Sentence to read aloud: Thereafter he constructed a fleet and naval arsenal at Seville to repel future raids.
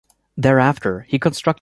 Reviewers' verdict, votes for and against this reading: rejected, 0, 2